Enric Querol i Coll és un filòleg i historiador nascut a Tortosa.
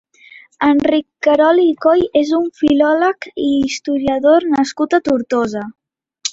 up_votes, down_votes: 2, 0